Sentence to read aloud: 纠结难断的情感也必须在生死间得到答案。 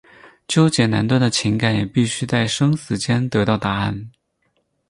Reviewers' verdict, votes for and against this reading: accepted, 4, 0